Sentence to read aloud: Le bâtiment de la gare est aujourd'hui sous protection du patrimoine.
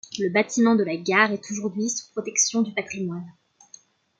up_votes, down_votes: 2, 0